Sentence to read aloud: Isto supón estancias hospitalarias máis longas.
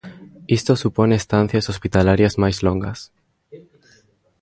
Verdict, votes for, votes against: accepted, 2, 0